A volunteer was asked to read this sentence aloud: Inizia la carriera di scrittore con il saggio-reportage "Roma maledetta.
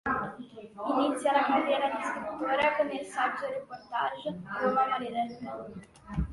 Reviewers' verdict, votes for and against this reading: rejected, 0, 2